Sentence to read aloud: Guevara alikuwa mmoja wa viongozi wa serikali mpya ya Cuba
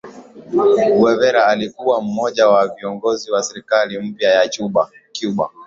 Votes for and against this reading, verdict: 2, 0, accepted